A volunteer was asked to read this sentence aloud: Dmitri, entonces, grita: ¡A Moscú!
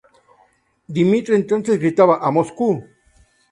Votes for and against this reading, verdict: 0, 2, rejected